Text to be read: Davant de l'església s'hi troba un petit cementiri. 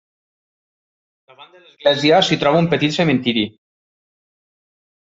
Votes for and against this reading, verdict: 0, 2, rejected